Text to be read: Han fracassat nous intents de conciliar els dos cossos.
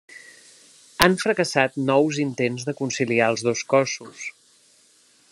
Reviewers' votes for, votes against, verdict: 3, 0, accepted